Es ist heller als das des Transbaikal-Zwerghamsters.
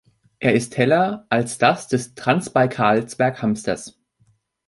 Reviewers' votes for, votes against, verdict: 0, 2, rejected